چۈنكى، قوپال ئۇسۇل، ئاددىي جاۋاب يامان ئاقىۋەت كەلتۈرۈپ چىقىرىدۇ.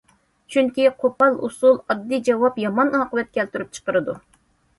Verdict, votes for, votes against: accepted, 2, 0